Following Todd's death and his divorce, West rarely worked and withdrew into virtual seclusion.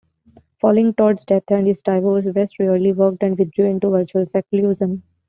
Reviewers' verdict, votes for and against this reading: rejected, 1, 2